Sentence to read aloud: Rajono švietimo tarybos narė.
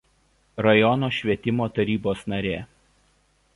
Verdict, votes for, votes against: accepted, 2, 0